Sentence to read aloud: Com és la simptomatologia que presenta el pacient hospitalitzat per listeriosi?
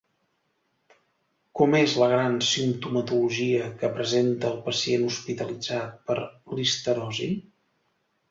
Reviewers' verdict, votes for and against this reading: rejected, 0, 2